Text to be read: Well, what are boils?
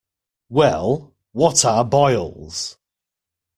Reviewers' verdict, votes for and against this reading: accepted, 2, 0